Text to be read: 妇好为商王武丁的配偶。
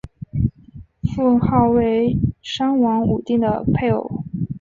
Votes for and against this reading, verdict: 5, 0, accepted